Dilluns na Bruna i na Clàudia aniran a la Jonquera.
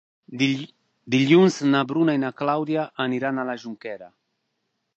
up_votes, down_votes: 0, 2